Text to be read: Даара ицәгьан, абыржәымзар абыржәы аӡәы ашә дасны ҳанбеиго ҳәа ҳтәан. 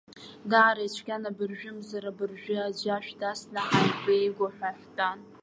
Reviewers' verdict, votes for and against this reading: rejected, 1, 2